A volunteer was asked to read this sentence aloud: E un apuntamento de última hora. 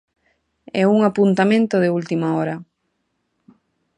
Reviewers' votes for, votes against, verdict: 2, 0, accepted